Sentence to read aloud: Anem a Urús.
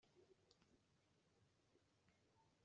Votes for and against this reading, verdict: 0, 2, rejected